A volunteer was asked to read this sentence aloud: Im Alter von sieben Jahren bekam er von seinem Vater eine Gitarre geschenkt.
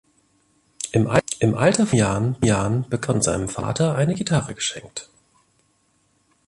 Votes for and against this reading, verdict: 0, 2, rejected